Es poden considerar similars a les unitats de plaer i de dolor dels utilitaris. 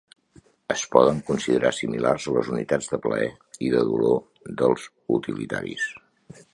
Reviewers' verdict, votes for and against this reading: accepted, 3, 0